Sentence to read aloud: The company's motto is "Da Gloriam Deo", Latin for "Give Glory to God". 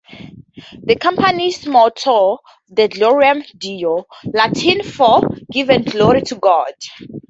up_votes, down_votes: 0, 2